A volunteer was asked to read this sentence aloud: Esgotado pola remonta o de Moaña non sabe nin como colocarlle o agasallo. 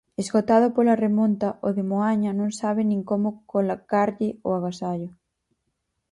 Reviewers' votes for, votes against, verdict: 2, 4, rejected